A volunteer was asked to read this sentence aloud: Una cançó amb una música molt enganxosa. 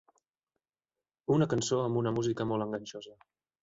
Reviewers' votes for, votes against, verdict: 4, 0, accepted